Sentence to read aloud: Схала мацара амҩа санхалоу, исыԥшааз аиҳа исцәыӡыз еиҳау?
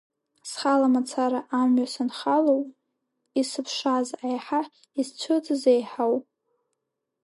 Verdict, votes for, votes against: rejected, 1, 2